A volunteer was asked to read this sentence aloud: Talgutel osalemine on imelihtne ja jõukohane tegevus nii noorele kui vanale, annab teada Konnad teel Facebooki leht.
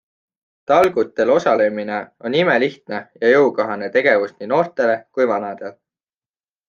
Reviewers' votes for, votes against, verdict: 0, 2, rejected